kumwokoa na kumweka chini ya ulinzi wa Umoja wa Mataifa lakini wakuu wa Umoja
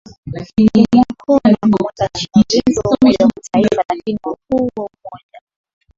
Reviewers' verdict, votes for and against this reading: rejected, 0, 2